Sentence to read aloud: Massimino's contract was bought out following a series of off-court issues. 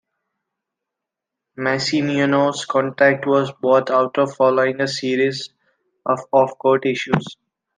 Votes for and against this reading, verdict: 2, 1, accepted